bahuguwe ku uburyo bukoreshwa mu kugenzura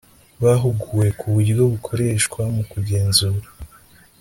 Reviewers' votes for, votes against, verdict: 3, 0, accepted